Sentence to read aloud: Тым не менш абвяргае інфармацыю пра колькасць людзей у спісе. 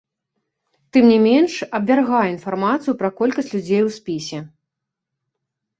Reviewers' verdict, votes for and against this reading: accepted, 2, 0